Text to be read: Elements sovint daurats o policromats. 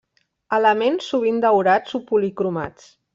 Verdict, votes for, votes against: accepted, 2, 0